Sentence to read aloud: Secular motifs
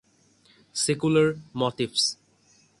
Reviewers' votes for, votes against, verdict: 6, 0, accepted